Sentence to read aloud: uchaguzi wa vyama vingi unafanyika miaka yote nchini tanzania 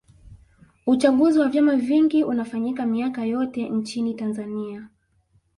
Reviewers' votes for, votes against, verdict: 0, 2, rejected